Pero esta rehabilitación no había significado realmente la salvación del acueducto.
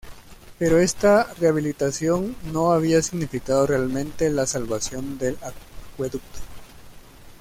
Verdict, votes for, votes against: accepted, 2, 1